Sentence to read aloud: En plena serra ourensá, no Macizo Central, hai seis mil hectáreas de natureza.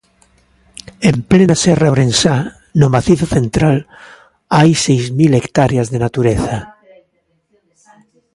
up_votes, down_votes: 0, 2